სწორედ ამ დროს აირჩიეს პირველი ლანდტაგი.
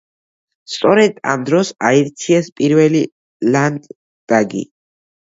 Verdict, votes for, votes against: rejected, 1, 2